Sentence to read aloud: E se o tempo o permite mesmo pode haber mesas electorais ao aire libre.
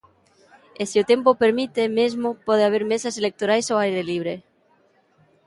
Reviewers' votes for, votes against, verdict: 2, 0, accepted